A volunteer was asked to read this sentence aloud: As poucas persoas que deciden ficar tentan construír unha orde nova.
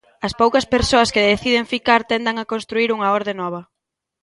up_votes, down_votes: 1, 2